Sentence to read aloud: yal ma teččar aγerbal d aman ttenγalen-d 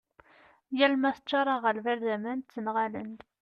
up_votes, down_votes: 2, 0